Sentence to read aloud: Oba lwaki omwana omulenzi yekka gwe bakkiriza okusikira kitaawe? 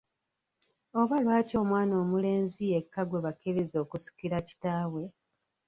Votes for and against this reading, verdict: 0, 2, rejected